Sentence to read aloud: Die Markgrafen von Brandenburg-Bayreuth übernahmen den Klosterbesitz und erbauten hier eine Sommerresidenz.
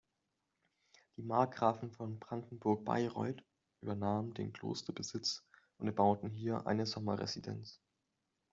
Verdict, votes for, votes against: rejected, 0, 2